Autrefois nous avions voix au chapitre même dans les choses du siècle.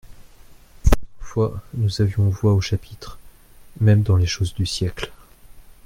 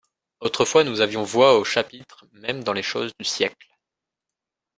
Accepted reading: second